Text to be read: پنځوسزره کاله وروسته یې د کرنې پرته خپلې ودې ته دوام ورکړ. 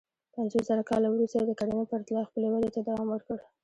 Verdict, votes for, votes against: rejected, 1, 2